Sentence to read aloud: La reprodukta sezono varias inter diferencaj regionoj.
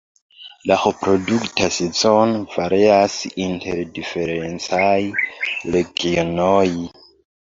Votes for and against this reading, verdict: 1, 2, rejected